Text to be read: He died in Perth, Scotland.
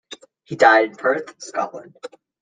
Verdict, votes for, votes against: rejected, 1, 2